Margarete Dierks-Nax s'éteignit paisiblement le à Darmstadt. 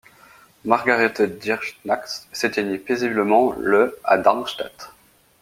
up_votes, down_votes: 2, 1